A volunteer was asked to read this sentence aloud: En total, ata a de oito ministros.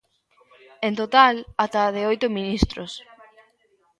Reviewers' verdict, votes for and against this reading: rejected, 1, 2